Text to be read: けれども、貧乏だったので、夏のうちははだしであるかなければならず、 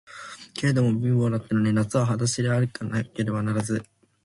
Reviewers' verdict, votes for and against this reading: rejected, 0, 2